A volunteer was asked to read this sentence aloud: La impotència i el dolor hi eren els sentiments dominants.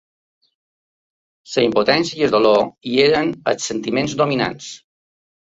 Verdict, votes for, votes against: rejected, 1, 2